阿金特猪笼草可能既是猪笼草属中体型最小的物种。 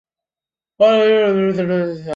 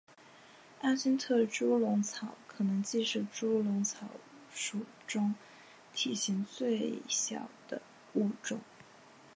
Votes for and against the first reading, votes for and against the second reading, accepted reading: 0, 4, 7, 0, second